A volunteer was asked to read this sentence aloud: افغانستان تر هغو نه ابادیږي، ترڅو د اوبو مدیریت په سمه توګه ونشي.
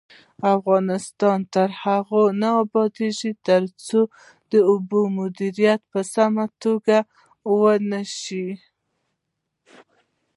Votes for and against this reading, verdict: 1, 2, rejected